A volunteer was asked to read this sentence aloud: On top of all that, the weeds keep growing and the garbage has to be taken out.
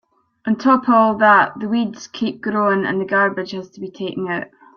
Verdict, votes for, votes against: accepted, 2, 0